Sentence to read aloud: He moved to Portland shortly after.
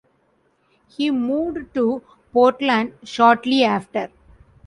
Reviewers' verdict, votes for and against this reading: accepted, 2, 0